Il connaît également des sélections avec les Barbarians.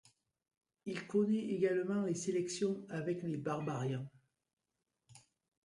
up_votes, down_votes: 1, 2